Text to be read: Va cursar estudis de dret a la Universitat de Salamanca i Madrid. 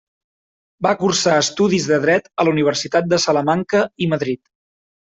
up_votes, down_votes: 3, 0